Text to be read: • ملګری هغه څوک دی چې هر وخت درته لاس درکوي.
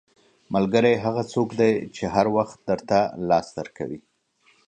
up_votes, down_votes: 2, 0